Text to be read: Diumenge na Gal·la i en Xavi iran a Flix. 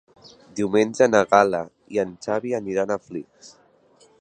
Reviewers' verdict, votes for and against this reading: accepted, 2, 1